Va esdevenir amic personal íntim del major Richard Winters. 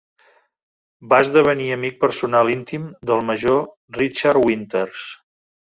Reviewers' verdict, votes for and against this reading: accepted, 3, 0